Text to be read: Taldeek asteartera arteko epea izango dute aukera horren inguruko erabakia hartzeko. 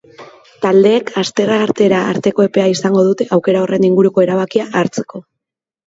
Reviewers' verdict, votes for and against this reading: accepted, 2, 0